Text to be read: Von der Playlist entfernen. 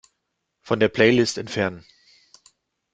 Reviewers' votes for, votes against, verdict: 2, 0, accepted